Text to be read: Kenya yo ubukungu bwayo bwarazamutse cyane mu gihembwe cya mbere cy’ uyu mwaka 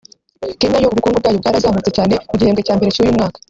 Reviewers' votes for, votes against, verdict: 0, 2, rejected